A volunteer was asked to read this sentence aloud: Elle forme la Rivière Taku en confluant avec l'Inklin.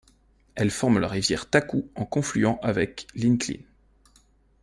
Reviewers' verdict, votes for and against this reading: accepted, 2, 0